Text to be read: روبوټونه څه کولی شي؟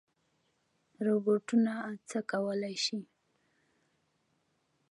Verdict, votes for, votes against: accepted, 2, 0